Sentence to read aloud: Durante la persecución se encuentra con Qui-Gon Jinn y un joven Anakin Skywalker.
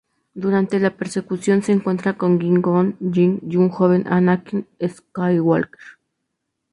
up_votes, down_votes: 0, 2